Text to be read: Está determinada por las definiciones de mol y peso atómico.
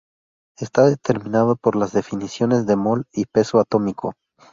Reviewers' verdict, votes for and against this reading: rejected, 0, 2